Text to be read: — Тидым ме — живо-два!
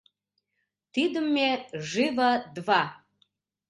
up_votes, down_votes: 3, 0